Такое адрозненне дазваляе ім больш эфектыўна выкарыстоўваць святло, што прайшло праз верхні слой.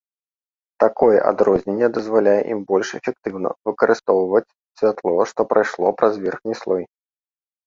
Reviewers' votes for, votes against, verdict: 2, 0, accepted